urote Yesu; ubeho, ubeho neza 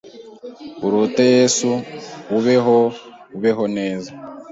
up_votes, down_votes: 2, 0